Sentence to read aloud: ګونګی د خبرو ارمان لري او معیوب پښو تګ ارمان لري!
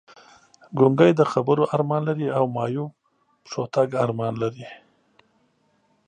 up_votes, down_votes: 2, 0